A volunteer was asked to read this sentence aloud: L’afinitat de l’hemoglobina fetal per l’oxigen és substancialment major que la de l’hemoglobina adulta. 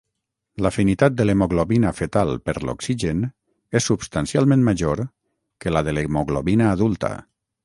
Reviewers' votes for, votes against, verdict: 6, 0, accepted